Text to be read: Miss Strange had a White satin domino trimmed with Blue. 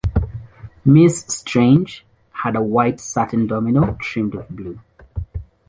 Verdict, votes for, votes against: accepted, 2, 0